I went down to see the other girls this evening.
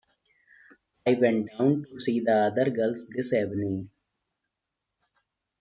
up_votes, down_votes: 2, 0